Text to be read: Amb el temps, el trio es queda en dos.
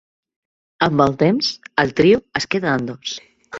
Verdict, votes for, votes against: accepted, 2, 0